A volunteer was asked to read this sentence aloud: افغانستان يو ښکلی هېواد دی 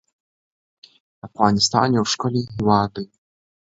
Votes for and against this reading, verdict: 2, 0, accepted